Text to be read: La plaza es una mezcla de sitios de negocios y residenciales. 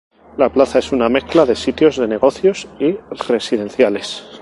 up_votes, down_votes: 2, 2